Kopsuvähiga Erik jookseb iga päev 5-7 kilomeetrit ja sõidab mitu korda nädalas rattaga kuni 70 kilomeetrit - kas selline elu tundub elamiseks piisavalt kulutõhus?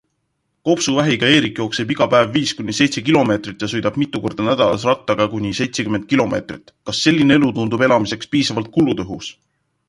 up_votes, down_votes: 0, 2